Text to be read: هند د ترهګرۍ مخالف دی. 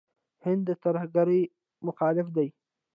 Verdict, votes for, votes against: rejected, 0, 2